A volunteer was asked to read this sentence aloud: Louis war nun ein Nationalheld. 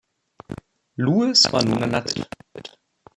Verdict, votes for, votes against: rejected, 0, 2